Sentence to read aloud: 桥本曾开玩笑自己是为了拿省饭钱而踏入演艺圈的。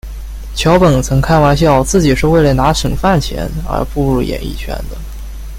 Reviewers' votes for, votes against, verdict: 2, 1, accepted